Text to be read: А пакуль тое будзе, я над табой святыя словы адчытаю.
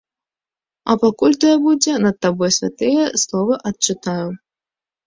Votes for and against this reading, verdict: 1, 2, rejected